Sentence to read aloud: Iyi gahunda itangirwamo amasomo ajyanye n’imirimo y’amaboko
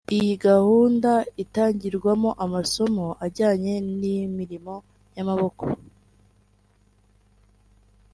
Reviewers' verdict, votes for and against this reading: accepted, 2, 0